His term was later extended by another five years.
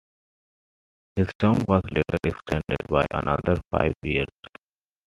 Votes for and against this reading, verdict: 2, 0, accepted